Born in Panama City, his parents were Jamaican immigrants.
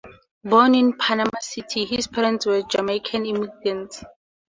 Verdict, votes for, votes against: accepted, 2, 0